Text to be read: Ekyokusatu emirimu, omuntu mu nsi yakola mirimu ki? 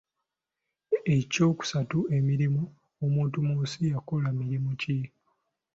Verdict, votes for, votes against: accepted, 2, 0